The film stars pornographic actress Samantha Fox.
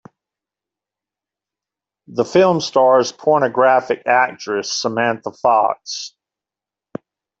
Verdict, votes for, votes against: accepted, 2, 0